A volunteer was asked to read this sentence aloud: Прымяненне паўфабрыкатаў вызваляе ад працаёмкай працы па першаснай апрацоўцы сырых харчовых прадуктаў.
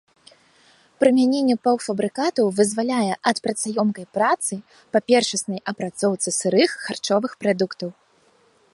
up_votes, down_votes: 2, 0